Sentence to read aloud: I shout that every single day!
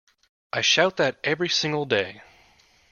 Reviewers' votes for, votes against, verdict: 2, 0, accepted